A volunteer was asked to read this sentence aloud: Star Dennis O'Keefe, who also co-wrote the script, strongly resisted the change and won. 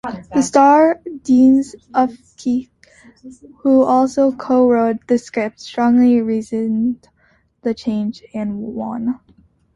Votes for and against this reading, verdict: 0, 2, rejected